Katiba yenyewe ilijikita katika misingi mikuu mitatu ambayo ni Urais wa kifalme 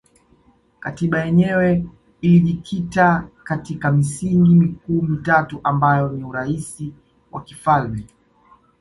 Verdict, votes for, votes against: accepted, 2, 1